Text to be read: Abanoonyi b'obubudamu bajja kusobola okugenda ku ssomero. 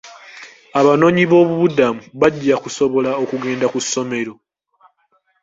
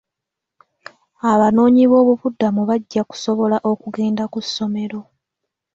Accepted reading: second